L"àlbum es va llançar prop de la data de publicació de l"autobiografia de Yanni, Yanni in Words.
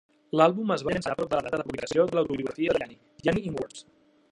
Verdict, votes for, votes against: rejected, 0, 2